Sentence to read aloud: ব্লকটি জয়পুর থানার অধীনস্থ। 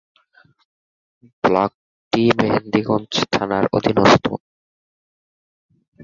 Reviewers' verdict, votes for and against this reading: rejected, 3, 6